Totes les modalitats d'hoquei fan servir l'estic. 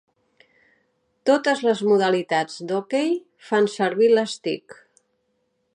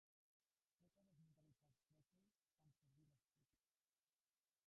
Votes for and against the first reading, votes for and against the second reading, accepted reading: 4, 0, 0, 2, first